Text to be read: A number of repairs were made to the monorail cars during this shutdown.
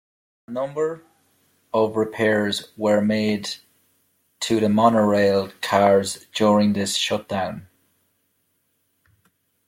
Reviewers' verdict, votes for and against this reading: accepted, 2, 1